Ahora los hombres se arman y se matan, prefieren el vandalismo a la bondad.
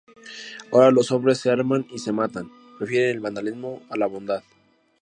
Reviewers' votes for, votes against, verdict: 2, 0, accepted